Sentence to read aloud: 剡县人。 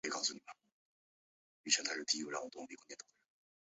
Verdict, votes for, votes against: rejected, 1, 2